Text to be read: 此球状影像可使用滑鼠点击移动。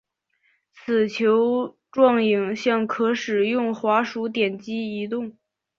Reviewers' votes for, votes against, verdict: 5, 0, accepted